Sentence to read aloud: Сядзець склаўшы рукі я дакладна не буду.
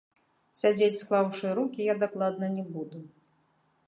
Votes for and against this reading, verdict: 0, 2, rejected